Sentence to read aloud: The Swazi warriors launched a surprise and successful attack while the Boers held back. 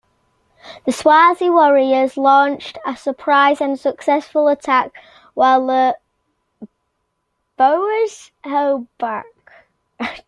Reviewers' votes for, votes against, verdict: 2, 0, accepted